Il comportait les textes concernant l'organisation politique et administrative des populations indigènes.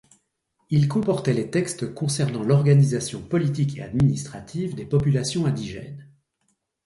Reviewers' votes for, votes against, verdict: 2, 0, accepted